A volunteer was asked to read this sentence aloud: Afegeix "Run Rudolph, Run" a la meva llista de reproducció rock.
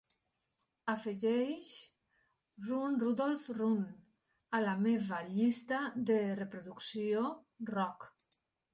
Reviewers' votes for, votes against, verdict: 2, 1, accepted